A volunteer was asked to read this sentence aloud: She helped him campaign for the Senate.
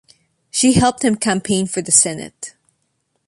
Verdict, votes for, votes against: accepted, 2, 0